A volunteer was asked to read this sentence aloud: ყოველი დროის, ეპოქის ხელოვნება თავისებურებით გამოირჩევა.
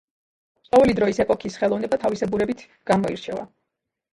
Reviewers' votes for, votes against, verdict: 1, 2, rejected